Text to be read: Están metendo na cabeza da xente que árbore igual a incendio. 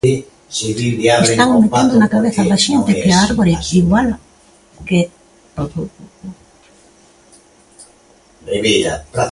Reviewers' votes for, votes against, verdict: 0, 2, rejected